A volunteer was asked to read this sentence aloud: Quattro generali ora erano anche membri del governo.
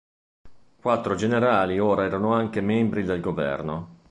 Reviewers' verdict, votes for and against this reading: accepted, 2, 0